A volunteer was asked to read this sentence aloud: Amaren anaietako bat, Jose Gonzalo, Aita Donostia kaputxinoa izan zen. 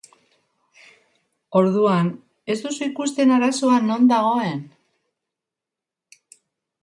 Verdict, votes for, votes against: rejected, 0, 2